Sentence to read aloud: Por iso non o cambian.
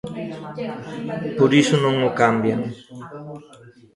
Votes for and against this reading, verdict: 1, 2, rejected